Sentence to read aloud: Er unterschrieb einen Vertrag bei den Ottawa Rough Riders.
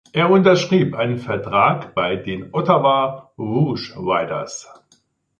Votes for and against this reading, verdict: 1, 2, rejected